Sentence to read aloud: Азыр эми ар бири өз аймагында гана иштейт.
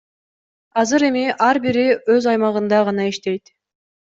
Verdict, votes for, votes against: accepted, 2, 0